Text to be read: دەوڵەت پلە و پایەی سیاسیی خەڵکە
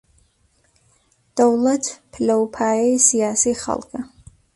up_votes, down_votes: 2, 0